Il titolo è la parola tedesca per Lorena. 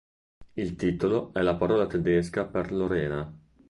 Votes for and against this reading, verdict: 2, 0, accepted